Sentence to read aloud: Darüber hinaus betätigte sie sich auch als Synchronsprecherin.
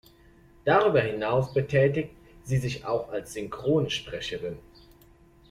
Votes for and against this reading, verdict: 0, 3, rejected